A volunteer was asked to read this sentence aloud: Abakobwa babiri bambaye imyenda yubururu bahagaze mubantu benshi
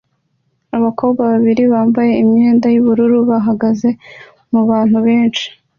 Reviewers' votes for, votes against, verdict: 2, 0, accepted